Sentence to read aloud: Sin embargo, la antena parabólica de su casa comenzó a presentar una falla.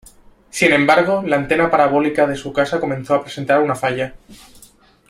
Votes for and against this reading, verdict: 2, 0, accepted